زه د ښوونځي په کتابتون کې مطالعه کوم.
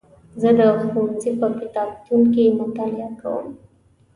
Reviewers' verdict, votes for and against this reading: accepted, 2, 1